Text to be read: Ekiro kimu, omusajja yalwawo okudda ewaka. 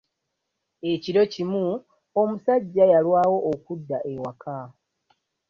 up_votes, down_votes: 2, 1